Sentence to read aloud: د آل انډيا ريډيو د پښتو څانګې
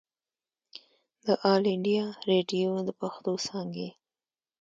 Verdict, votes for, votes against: accepted, 2, 0